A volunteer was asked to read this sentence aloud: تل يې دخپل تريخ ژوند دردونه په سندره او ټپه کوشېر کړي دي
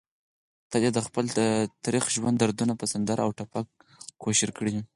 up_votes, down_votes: 6, 4